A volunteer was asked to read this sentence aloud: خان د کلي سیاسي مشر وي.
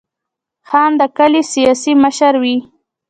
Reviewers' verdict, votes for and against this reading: accepted, 2, 0